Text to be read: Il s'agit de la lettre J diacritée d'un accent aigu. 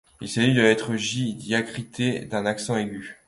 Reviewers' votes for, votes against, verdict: 2, 1, accepted